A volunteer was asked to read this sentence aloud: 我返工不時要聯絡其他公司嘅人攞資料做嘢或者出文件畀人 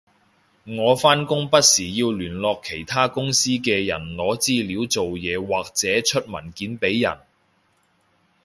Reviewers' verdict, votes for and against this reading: accepted, 2, 0